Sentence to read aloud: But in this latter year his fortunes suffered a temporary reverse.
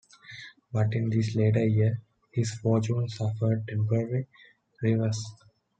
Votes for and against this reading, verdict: 2, 1, accepted